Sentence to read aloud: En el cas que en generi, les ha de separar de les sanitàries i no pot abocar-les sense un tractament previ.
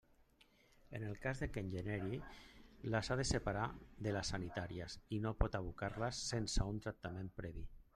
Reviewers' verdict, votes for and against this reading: rejected, 0, 2